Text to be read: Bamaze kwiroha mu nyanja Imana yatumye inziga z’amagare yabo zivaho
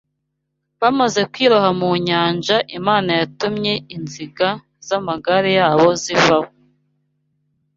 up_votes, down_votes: 2, 0